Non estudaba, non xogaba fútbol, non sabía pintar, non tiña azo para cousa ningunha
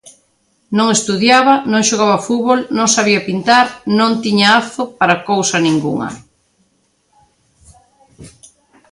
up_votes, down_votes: 0, 3